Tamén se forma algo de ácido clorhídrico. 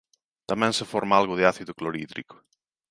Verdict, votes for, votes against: accepted, 2, 0